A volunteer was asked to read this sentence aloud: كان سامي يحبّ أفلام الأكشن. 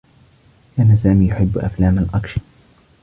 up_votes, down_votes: 2, 1